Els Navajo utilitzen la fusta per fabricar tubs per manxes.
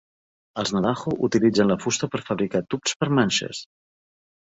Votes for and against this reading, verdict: 2, 0, accepted